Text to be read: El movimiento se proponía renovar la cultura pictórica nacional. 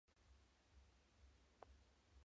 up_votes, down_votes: 2, 0